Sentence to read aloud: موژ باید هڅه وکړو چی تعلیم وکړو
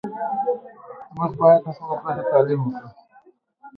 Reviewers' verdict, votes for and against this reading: rejected, 1, 2